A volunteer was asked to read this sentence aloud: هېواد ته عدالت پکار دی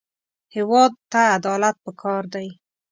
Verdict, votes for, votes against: accepted, 2, 0